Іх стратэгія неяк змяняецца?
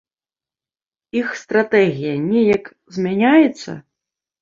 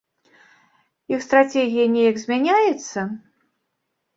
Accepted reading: first